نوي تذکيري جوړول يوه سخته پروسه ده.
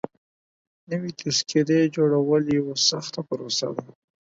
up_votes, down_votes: 4, 0